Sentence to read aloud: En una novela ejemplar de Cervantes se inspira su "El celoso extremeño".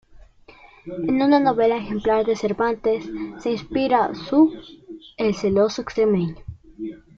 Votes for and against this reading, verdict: 2, 1, accepted